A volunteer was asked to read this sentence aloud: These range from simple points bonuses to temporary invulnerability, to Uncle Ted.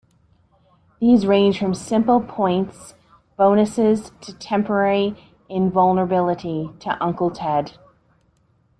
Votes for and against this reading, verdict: 2, 0, accepted